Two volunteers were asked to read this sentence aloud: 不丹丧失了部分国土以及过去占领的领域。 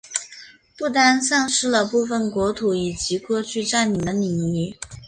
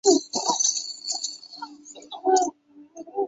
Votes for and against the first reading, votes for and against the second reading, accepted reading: 3, 1, 1, 3, first